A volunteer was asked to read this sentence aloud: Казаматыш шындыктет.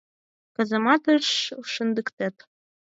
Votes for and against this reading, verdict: 4, 2, accepted